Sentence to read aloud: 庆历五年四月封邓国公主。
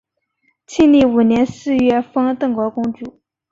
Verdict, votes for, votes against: accepted, 3, 0